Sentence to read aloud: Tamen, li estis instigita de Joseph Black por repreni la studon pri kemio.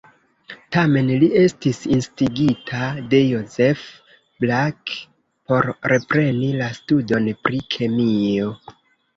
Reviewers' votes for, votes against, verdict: 1, 2, rejected